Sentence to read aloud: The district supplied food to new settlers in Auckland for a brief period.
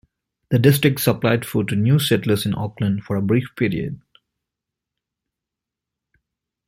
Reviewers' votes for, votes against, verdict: 2, 1, accepted